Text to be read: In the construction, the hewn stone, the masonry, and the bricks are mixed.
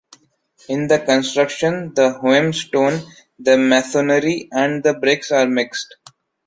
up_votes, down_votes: 0, 2